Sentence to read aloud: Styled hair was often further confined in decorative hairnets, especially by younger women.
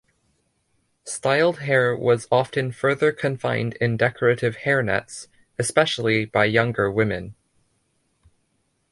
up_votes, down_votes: 2, 0